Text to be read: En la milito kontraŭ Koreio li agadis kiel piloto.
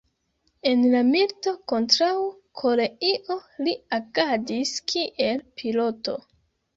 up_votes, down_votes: 0, 2